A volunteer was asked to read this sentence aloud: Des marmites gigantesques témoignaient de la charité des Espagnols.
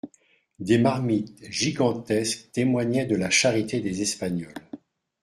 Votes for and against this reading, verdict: 2, 0, accepted